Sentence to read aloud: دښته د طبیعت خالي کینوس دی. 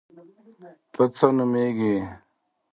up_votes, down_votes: 0, 2